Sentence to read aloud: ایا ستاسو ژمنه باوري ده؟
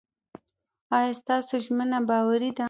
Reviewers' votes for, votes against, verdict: 2, 0, accepted